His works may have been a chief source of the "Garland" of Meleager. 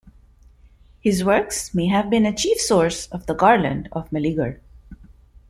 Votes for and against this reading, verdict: 2, 0, accepted